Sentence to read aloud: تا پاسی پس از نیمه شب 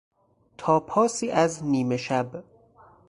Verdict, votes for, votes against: rejected, 2, 4